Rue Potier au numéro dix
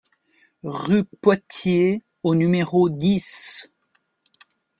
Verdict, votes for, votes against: rejected, 0, 2